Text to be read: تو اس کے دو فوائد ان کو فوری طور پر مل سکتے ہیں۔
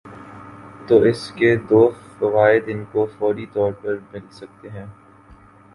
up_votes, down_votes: 2, 0